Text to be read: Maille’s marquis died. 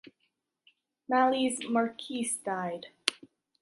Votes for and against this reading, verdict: 1, 2, rejected